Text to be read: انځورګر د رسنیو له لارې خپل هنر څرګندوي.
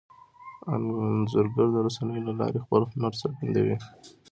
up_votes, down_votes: 1, 2